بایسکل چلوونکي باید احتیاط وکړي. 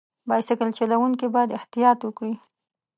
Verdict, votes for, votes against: accepted, 2, 0